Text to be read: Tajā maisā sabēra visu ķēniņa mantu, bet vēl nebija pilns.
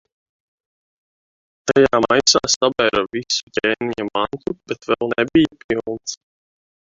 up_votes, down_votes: 0, 2